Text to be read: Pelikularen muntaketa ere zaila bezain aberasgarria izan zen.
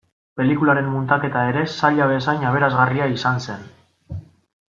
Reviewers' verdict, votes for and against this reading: accepted, 2, 0